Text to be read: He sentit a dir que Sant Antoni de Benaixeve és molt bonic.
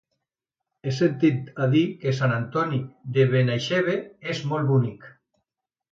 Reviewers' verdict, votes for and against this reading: accepted, 2, 0